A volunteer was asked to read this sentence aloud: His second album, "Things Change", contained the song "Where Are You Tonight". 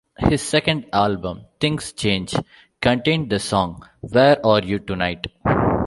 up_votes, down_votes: 2, 0